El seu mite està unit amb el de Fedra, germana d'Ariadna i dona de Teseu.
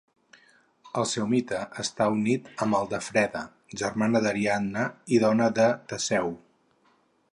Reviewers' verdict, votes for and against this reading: rejected, 4, 8